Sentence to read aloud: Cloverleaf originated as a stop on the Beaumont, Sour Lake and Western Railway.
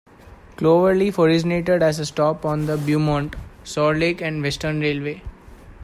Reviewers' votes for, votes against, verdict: 2, 0, accepted